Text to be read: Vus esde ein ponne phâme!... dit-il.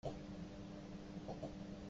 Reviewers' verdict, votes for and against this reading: rejected, 0, 2